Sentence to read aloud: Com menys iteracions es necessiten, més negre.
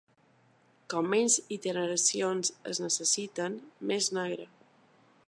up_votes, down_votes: 0, 2